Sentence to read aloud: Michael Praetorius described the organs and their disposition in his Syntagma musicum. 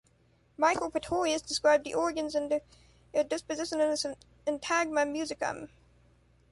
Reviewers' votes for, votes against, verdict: 1, 2, rejected